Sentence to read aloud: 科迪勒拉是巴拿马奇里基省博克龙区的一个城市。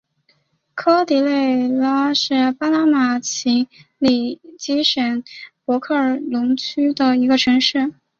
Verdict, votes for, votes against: accepted, 2, 0